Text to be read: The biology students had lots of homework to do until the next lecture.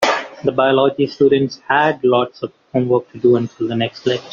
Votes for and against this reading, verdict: 1, 3, rejected